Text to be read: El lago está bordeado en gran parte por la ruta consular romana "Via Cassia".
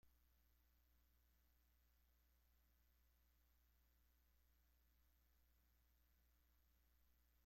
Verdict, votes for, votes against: rejected, 0, 2